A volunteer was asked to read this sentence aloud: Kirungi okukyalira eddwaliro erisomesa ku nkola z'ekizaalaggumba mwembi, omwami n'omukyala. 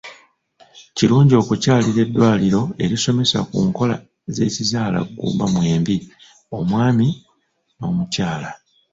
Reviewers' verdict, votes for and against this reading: rejected, 1, 2